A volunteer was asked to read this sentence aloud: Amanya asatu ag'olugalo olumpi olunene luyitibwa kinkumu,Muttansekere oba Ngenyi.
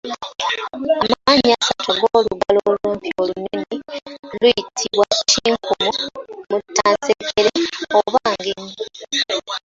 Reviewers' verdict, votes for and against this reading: rejected, 1, 2